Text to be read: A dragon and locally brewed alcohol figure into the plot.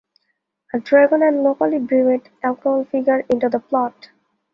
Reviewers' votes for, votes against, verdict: 2, 0, accepted